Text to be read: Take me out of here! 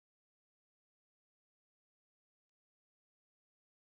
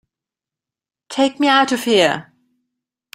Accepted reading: second